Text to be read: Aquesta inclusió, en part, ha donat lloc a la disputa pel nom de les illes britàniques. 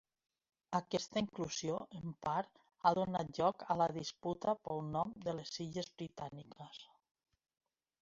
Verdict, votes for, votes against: accepted, 2, 0